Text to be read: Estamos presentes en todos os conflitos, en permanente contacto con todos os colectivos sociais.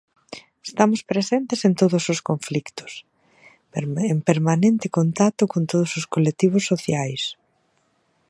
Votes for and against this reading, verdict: 0, 2, rejected